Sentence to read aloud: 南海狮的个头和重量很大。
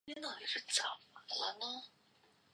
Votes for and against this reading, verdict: 1, 2, rejected